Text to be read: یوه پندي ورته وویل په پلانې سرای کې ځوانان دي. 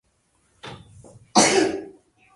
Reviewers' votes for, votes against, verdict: 0, 2, rejected